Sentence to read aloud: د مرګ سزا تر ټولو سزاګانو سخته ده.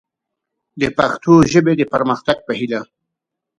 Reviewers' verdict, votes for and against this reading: rejected, 0, 3